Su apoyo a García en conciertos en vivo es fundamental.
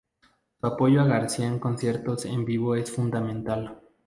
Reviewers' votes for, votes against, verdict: 0, 2, rejected